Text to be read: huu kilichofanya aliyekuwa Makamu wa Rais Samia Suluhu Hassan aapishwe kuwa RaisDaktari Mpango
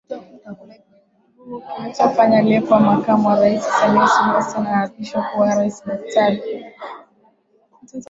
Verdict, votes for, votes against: rejected, 6, 9